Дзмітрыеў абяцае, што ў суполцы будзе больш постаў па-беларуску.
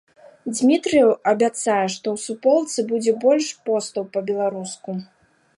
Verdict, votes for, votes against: accepted, 2, 0